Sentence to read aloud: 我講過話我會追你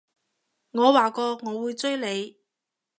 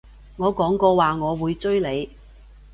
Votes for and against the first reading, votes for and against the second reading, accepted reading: 0, 2, 2, 0, second